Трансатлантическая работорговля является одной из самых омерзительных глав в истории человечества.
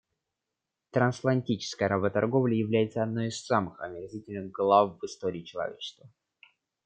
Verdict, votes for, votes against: rejected, 0, 2